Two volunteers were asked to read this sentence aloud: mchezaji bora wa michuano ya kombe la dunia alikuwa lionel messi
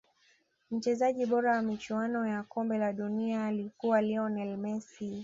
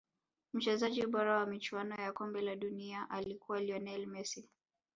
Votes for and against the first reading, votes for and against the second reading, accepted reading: 2, 0, 1, 2, first